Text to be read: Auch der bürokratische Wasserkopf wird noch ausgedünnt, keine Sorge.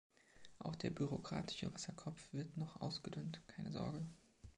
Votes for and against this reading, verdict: 2, 0, accepted